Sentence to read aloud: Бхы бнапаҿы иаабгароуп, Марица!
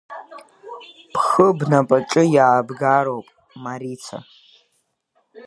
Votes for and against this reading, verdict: 0, 2, rejected